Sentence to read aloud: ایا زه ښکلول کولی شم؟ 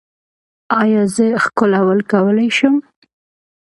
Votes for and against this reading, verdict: 2, 0, accepted